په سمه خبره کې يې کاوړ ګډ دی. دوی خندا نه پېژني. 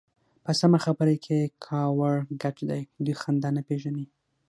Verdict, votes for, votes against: accepted, 6, 0